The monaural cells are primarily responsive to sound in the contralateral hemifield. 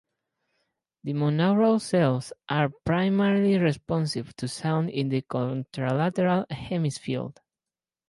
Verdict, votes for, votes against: rejected, 2, 4